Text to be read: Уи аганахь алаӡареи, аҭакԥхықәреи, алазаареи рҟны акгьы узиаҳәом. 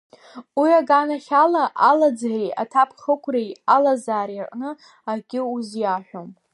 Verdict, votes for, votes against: rejected, 1, 2